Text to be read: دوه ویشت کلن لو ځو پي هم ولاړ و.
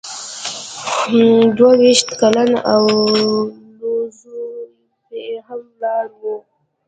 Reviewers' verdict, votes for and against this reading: rejected, 0, 2